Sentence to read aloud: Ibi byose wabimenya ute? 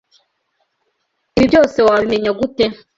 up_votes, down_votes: 2, 0